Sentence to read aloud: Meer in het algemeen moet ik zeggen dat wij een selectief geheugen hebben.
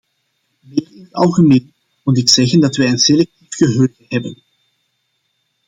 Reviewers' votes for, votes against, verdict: 0, 2, rejected